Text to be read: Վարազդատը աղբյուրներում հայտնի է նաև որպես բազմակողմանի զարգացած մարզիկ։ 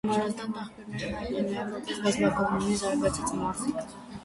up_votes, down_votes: 0, 2